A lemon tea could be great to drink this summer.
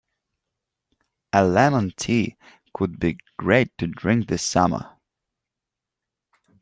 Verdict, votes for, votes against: accepted, 3, 0